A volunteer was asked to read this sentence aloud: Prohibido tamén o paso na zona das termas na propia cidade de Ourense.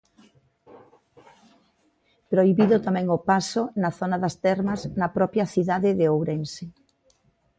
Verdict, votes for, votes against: accepted, 2, 0